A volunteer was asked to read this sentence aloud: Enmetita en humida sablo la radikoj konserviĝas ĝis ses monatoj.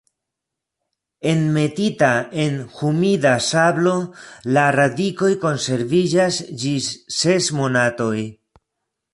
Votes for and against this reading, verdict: 2, 0, accepted